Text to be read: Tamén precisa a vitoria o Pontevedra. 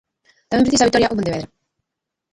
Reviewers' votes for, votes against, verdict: 0, 2, rejected